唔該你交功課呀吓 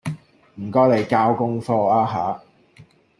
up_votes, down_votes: 2, 0